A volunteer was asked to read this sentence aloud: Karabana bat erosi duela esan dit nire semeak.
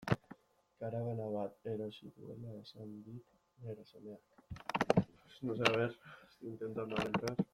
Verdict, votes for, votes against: rejected, 0, 2